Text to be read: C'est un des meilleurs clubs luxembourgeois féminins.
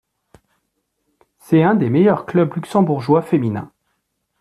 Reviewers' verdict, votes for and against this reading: accepted, 2, 1